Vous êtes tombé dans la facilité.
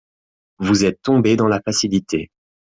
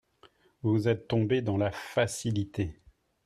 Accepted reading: second